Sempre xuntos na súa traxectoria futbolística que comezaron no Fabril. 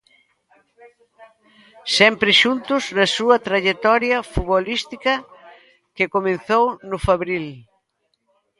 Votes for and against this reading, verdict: 0, 2, rejected